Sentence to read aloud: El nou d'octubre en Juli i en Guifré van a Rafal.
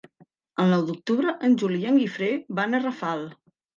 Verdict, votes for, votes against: accepted, 3, 0